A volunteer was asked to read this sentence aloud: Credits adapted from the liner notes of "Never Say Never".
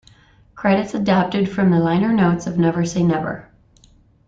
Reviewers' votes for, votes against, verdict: 2, 0, accepted